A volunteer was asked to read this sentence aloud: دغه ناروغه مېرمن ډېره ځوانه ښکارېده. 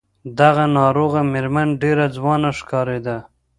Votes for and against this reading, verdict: 1, 2, rejected